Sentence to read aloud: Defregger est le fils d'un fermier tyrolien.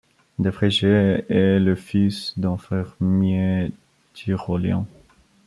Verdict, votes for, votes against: rejected, 1, 2